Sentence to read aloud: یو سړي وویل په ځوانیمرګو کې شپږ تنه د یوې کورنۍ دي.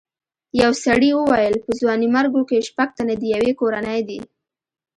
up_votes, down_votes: 2, 0